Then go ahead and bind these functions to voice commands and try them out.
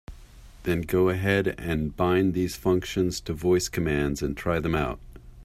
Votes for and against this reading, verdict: 2, 0, accepted